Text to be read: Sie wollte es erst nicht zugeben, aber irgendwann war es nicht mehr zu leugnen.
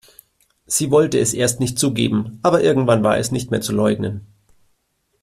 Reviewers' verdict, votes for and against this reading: accepted, 2, 0